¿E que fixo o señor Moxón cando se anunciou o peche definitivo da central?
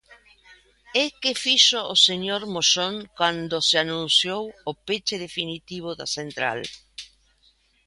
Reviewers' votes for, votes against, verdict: 1, 2, rejected